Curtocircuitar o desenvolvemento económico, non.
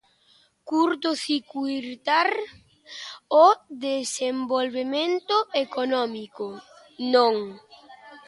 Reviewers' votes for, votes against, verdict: 0, 2, rejected